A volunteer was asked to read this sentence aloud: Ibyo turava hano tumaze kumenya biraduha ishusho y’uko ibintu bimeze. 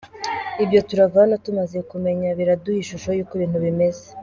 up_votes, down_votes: 2, 1